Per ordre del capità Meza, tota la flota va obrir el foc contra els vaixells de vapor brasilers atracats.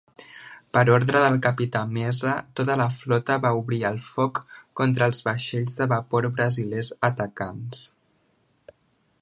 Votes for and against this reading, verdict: 0, 2, rejected